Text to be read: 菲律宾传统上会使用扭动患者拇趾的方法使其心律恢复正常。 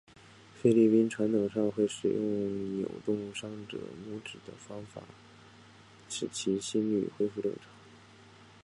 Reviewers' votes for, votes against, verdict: 5, 0, accepted